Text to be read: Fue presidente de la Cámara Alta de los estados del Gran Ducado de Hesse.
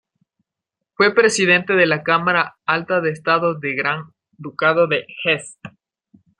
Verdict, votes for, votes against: accepted, 2, 1